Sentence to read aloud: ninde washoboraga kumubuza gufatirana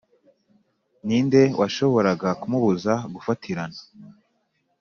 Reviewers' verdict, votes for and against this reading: accepted, 3, 0